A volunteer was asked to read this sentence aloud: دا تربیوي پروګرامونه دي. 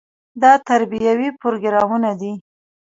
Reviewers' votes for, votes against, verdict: 0, 2, rejected